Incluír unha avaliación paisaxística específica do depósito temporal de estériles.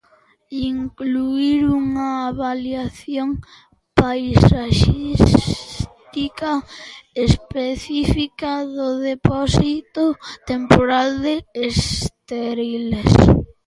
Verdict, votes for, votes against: accepted, 2, 1